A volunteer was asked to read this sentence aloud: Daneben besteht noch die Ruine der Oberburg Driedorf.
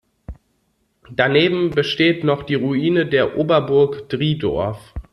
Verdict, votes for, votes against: accepted, 2, 0